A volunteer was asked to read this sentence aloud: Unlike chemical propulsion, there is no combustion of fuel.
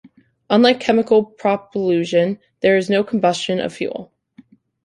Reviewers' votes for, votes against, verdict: 0, 2, rejected